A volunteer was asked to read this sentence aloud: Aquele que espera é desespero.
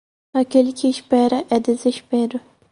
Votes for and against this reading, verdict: 4, 0, accepted